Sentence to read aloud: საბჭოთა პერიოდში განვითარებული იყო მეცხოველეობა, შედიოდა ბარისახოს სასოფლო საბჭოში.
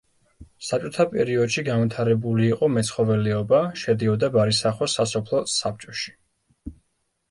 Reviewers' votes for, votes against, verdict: 1, 2, rejected